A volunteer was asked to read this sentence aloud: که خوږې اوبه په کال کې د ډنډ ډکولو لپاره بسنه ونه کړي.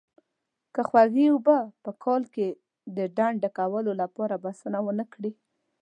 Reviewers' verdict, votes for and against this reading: accepted, 2, 0